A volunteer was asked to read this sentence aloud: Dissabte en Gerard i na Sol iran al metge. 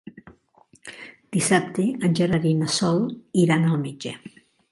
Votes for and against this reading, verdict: 3, 0, accepted